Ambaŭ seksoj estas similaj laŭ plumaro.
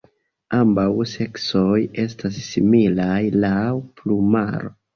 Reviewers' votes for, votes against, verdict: 2, 0, accepted